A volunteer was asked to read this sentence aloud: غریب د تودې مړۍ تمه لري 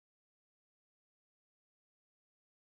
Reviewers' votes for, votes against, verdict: 1, 2, rejected